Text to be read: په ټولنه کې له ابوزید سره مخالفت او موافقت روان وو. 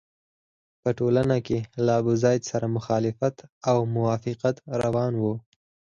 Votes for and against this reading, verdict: 2, 4, rejected